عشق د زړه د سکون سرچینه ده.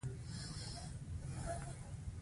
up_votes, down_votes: 2, 1